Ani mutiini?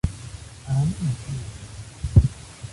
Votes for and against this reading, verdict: 1, 2, rejected